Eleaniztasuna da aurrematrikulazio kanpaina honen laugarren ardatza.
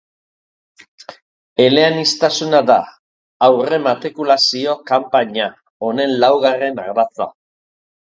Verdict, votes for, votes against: accepted, 3, 0